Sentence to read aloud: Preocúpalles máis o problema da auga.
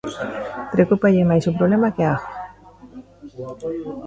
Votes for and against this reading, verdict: 0, 2, rejected